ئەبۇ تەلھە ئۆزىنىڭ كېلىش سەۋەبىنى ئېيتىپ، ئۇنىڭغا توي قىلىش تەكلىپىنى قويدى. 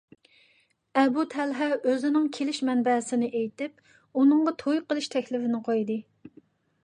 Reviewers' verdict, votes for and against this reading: rejected, 1, 2